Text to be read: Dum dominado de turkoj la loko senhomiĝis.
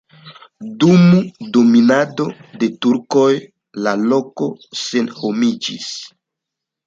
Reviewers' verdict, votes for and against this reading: accepted, 2, 1